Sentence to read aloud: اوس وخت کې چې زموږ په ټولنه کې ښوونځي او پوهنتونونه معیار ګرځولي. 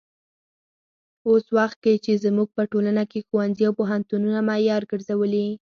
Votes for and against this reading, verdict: 4, 0, accepted